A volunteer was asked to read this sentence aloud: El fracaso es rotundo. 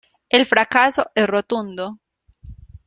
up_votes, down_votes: 1, 3